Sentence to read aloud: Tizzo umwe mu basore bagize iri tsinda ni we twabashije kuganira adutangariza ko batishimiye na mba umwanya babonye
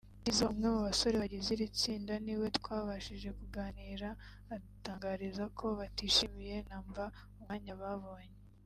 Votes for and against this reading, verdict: 3, 0, accepted